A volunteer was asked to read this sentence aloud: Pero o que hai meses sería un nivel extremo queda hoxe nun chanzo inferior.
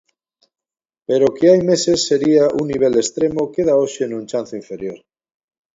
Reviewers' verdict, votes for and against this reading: accepted, 2, 0